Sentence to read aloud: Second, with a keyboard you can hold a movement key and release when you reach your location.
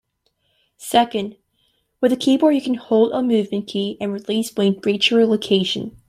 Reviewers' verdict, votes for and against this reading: accepted, 2, 0